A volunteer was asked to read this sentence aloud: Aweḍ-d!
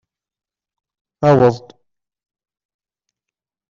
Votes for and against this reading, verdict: 0, 2, rejected